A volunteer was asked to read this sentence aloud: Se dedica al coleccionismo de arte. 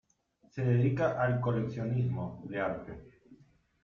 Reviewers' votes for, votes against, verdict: 0, 2, rejected